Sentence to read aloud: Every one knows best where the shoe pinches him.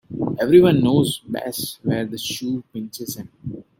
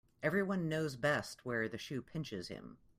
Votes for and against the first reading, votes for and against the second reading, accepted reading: 0, 2, 2, 0, second